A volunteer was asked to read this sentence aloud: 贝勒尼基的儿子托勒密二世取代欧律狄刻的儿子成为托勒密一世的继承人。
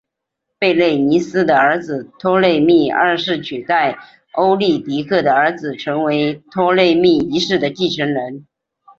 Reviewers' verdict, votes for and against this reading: accepted, 2, 1